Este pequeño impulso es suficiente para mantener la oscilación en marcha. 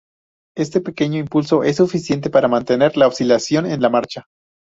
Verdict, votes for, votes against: rejected, 0, 2